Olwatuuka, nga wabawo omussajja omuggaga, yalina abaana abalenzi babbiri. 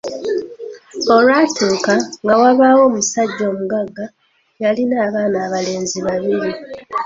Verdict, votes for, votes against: accepted, 2, 1